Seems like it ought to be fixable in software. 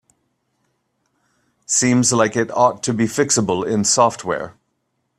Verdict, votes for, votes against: accepted, 2, 0